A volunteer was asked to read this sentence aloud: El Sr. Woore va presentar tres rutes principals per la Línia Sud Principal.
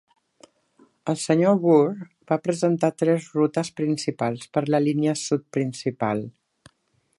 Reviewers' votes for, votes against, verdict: 3, 0, accepted